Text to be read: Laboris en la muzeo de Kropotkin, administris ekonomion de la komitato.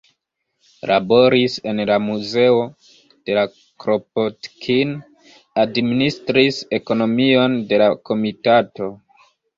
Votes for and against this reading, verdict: 1, 2, rejected